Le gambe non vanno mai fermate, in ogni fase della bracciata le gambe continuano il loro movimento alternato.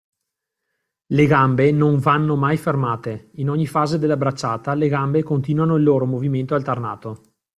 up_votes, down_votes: 2, 0